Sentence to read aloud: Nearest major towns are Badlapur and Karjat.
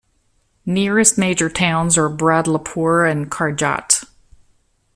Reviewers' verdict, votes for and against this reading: rejected, 0, 2